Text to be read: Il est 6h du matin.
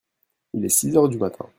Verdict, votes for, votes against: rejected, 0, 2